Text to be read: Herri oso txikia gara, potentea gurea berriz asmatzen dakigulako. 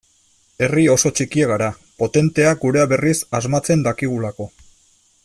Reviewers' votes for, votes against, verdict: 2, 0, accepted